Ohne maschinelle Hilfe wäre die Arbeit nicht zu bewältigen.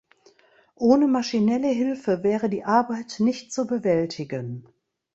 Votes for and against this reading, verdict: 2, 0, accepted